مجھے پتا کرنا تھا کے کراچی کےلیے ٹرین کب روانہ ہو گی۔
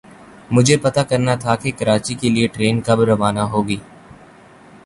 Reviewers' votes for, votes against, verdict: 2, 0, accepted